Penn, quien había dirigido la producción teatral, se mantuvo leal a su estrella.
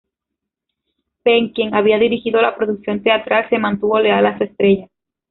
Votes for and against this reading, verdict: 2, 0, accepted